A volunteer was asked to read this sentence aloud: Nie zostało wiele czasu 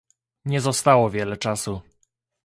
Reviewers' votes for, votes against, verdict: 2, 0, accepted